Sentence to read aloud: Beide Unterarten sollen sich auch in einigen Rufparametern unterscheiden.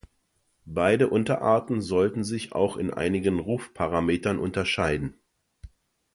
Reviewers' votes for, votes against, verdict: 2, 1, accepted